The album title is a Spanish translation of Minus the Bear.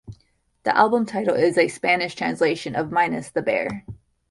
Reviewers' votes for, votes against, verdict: 2, 0, accepted